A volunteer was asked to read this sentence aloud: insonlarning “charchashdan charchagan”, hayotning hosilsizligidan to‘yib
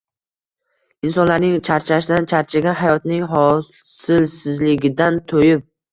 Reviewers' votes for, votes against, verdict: 0, 2, rejected